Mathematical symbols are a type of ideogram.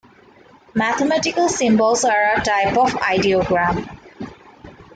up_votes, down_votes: 1, 2